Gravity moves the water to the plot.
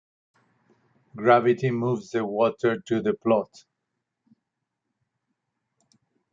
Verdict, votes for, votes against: accepted, 4, 0